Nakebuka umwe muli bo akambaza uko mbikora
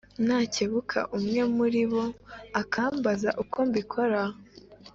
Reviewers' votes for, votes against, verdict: 3, 0, accepted